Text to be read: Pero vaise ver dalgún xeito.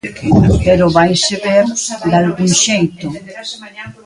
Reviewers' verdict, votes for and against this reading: rejected, 0, 2